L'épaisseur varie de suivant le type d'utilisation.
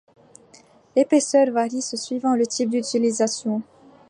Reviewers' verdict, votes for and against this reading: rejected, 0, 2